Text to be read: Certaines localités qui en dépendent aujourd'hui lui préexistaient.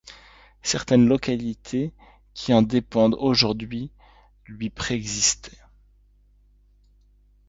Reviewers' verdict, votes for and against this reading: rejected, 1, 2